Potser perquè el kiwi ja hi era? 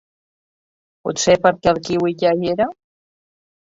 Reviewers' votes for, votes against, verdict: 0, 4, rejected